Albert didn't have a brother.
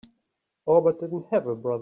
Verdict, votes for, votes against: rejected, 0, 2